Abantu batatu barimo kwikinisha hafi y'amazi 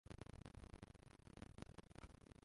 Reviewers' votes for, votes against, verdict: 0, 2, rejected